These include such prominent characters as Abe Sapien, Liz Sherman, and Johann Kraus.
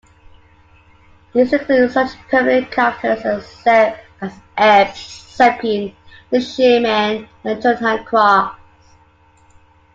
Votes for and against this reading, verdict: 1, 2, rejected